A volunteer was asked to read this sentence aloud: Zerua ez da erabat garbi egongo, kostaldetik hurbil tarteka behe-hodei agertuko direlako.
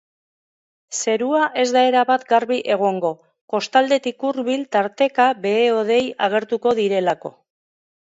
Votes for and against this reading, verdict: 2, 0, accepted